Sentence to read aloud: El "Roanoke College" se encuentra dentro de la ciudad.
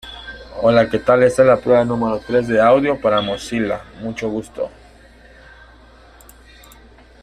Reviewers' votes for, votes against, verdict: 0, 2, rejected